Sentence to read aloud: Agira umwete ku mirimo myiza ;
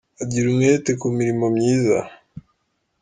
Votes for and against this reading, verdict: 1, 2, rejected